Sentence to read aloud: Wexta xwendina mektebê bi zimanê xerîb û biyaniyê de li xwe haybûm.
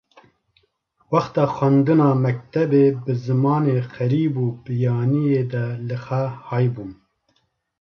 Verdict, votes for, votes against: accepted, 2, 1